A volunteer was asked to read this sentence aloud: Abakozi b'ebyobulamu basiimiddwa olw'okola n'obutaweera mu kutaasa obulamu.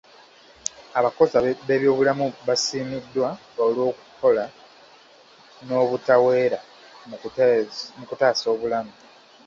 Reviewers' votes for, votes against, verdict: 1, 2, rejected